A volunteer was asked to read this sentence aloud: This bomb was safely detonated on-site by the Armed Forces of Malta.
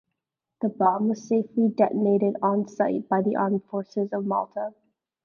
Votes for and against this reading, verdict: 0, 2, rejected